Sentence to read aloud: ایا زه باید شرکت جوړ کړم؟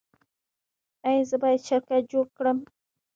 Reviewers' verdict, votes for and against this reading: rejected, 1, 2